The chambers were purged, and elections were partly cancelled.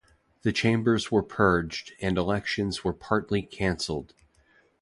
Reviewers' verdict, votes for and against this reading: accepted, 2, 0